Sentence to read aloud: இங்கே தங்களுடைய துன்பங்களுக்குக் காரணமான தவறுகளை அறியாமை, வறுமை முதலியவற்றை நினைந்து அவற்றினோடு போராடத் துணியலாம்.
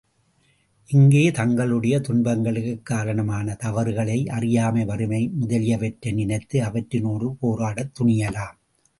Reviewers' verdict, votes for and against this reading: accepted, 2, 0